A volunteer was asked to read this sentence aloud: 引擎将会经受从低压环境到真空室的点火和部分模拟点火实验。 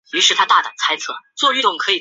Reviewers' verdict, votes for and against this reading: rejected, 0, 5